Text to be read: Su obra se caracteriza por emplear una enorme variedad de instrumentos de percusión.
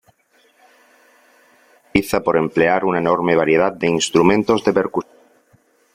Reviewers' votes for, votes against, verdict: 0, 2, rejected